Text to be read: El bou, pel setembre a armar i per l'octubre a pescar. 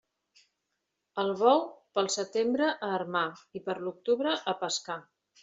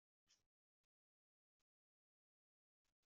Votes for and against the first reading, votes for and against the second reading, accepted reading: 3, 0, 0, 2, first